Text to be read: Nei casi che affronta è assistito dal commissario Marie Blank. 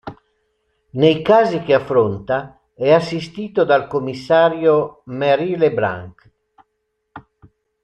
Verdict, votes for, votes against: rejected, 0, 2